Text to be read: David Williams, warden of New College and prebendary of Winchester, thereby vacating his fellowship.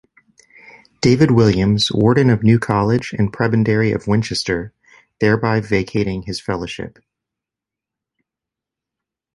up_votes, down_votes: 2, 0